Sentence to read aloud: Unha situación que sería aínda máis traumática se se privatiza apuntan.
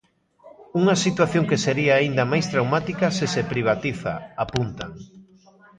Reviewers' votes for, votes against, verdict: 2, 1, accepted